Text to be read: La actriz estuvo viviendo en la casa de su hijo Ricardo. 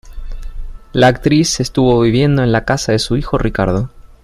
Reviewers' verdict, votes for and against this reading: accepted, 2, 0